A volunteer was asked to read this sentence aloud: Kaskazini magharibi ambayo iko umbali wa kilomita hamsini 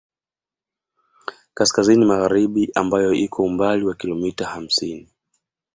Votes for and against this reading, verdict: 2, 0, accepted